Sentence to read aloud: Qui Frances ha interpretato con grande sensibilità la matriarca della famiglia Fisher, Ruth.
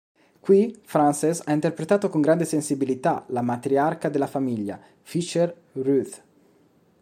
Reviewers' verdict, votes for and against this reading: rejected, 1, 2